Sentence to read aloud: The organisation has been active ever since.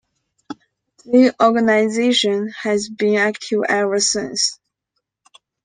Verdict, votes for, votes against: accepted, 2, 0